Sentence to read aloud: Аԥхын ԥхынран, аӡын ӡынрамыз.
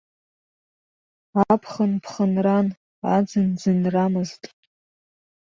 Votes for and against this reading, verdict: 1, 2, rejected